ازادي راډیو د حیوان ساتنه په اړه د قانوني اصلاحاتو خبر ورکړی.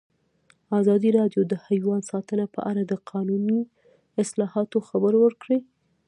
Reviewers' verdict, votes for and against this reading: accepted, 2, 0